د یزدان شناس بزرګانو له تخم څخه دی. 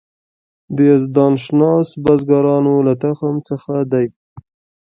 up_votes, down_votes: 1, 2